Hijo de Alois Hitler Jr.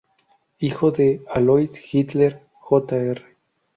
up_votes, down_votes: 2, 0